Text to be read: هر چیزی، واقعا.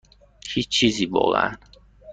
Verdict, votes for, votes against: rejected, 0, 2